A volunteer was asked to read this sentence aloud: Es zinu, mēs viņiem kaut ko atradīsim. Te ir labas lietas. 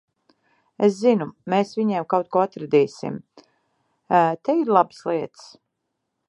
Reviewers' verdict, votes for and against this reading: rejected, 0, 2